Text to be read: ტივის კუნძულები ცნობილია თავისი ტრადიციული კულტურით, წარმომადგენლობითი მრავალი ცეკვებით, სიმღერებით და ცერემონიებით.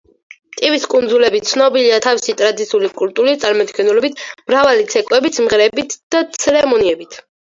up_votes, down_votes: 4, 2